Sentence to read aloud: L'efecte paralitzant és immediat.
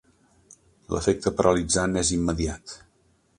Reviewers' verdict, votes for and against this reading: accepted, 3, 0